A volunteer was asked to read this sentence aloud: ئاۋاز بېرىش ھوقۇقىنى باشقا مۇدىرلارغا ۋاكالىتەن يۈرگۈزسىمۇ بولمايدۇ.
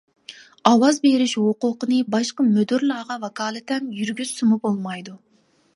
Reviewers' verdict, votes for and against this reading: rejected, 1, 2